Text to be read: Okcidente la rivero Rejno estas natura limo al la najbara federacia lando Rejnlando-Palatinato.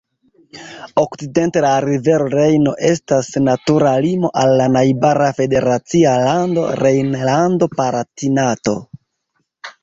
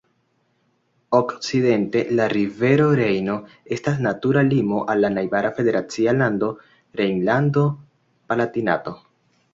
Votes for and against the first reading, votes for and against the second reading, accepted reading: 1, 2, 2, 0, second